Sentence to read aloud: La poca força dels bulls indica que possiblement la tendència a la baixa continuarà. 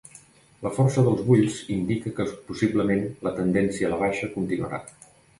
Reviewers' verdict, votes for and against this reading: rejected, 0, 2